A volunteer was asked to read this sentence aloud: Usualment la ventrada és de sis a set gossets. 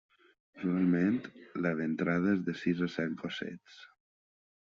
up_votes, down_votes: 0, 2